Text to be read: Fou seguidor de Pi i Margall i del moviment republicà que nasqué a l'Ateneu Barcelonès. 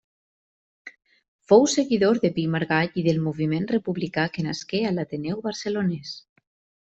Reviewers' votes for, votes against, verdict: 2, 0, accepted